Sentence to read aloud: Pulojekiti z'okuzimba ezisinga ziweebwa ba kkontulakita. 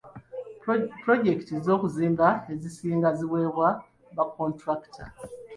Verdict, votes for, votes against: accepted, 2, 1